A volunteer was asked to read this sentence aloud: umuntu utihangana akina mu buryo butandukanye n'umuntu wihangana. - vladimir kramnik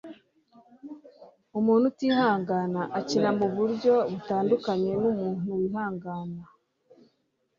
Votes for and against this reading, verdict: 2, 3, rejected